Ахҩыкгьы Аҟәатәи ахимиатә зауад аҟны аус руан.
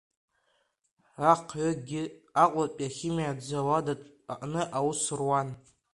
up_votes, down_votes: 2, 0